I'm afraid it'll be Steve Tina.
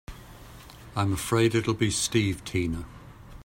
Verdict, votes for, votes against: accepted, 2, 0